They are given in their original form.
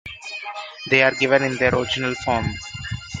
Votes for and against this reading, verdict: 1, 2, rejected